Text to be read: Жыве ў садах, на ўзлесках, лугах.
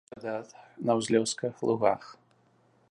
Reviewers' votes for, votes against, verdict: 1, 2, rejected